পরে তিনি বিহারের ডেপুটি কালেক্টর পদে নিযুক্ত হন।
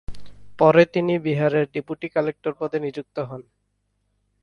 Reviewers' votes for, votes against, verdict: 4, 0, accepted